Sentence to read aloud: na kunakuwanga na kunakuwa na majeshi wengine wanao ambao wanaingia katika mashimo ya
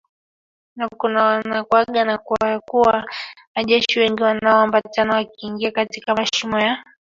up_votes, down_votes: 0, 2